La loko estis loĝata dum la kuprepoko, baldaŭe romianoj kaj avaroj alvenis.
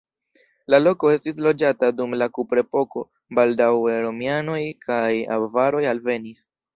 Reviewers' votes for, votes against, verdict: 2, 0, accepted